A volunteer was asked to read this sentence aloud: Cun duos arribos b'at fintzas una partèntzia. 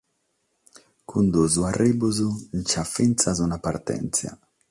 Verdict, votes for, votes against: accepted, 6, 0